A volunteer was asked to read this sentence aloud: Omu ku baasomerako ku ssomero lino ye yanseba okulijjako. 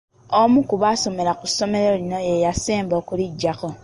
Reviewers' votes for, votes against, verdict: 2, 0, accepted